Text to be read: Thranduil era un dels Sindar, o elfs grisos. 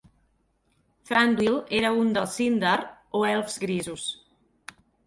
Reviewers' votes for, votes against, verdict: 4, 0, accepted